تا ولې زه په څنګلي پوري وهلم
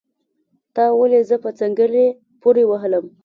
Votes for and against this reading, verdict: 2, 0, accepted